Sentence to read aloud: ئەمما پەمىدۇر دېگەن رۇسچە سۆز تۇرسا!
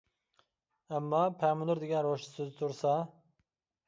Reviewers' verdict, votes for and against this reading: rejected, 1, 2